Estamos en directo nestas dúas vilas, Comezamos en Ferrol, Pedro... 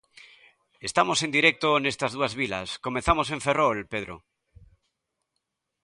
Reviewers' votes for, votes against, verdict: 2, 0, accepted